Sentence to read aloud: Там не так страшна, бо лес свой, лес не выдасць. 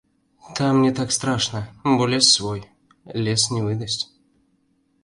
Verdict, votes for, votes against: accepted, 3, 0